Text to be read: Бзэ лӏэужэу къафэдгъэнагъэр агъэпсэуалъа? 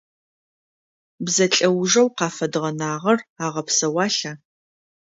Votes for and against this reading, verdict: 2, 0, accepted